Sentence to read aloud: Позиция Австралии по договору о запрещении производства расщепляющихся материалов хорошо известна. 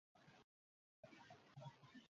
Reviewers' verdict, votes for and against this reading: rejected, 0, 2